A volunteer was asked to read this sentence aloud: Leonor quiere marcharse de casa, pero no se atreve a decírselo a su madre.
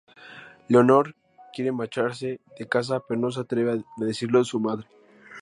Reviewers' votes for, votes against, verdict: 2, 0, accepted